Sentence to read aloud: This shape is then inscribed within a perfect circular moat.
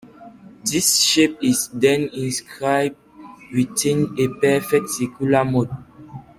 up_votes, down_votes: 2, 0